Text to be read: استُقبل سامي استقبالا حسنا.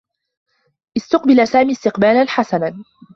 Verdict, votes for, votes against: accepted, 2, 0